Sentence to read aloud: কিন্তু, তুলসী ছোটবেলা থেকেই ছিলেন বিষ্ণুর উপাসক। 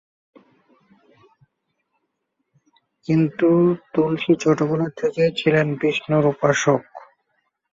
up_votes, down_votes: 0, 2